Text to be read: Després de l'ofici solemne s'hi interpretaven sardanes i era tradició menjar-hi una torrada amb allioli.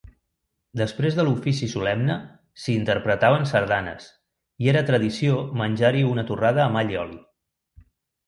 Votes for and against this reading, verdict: 2, 0, accepted